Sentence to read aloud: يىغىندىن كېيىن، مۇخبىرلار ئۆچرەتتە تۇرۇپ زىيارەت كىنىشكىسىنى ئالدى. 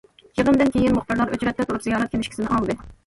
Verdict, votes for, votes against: rejected, 1, 2